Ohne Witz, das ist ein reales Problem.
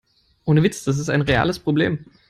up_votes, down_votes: 4, 0